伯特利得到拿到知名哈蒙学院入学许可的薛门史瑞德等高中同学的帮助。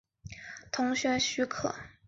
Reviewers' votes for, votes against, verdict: 0, 2, rejected